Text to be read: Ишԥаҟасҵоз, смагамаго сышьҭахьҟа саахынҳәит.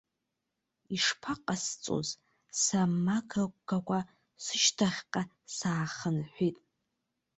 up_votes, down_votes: 1, 2